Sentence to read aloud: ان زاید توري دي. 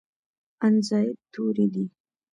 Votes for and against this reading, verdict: 2, 0, accepted